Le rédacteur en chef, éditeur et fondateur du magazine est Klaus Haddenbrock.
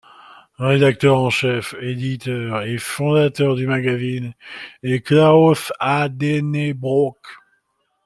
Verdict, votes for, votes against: accepted, 2, 1